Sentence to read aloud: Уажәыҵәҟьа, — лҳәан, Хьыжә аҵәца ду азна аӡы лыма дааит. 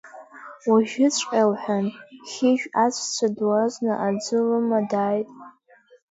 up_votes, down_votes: 0, 2